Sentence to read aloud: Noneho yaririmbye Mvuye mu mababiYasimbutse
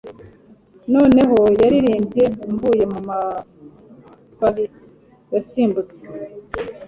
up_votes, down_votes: 0, 2